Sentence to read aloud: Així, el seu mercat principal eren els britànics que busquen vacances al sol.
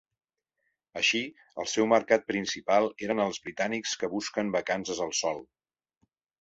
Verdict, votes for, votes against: accepted, 3, 1